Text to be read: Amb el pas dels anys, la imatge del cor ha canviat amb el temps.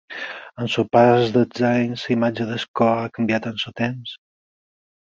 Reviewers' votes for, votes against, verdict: 4, 6, rejected